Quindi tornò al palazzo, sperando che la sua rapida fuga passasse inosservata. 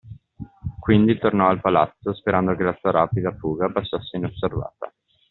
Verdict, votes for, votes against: accepted, 2, 0